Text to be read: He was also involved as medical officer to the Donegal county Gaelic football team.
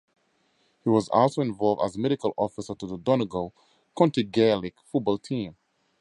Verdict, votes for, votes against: accepted, 4, 0